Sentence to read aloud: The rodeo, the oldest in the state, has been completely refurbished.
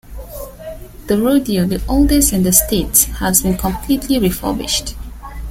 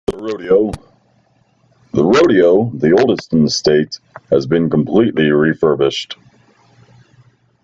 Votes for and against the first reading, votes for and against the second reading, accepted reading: 2, 1, 0, 2, first